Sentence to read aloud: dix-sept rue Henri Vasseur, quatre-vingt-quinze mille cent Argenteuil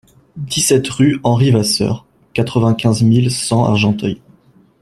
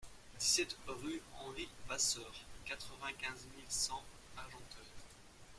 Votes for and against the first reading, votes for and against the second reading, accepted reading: 2, 0, 0, 2, first